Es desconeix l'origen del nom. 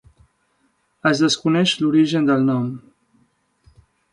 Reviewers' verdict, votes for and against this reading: accepted, 2, 0